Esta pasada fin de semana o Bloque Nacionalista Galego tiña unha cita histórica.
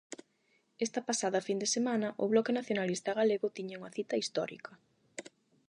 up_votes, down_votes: 8, 0